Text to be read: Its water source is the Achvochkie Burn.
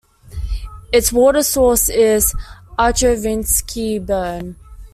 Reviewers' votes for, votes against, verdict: 0, 2, rejected